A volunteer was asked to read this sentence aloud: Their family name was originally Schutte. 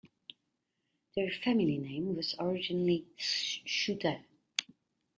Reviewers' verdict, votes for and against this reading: rejected, 1, 2